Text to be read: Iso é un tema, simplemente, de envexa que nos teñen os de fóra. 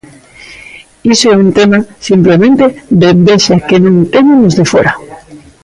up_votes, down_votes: 0, 2